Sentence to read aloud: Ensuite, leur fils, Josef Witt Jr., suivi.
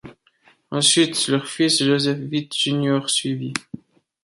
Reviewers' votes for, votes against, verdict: 2, 0, accepted